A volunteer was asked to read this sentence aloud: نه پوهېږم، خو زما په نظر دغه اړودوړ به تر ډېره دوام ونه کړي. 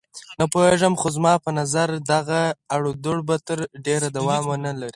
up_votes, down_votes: 4, 0